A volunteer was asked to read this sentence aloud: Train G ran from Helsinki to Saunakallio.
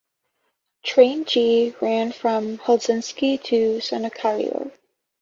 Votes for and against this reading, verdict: 1, 2, rejected